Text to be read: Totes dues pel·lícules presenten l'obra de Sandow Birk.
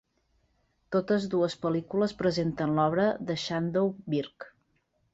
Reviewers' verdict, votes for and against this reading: rejected, 1, 2